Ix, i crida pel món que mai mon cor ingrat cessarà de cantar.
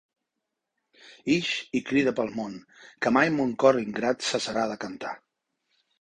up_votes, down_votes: 3, 0